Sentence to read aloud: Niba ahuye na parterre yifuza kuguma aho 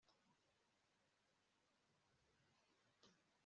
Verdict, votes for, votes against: rejected, 1, 2